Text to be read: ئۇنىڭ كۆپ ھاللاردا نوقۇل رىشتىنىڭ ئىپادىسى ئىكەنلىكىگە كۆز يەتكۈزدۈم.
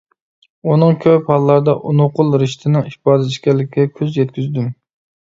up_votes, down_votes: 0, 2